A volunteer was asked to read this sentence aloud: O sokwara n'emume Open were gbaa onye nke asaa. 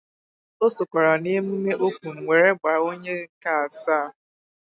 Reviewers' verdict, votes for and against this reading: rejected, 0, 4